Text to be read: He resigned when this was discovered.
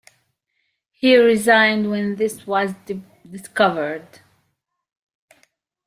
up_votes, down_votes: 2, 1